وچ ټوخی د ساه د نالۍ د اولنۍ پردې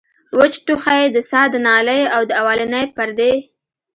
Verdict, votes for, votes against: accepted, 2, 0